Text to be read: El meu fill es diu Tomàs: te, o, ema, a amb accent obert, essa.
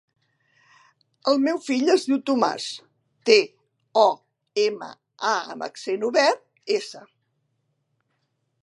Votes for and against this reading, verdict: 3, 0, accepted